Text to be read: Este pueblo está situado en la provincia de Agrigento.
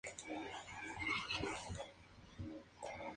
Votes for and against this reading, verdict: 0, 2, rejected